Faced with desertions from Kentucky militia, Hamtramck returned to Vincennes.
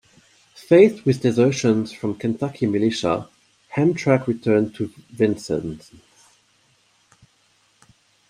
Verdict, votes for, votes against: rejected, 1, 2